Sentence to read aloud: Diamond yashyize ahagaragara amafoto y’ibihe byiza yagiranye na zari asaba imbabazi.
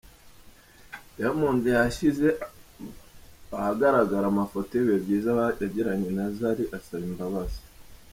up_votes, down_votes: 1, 2